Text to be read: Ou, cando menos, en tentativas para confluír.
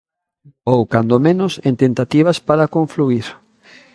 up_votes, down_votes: 2, 1